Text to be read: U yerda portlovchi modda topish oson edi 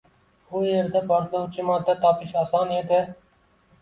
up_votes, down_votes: 2, 0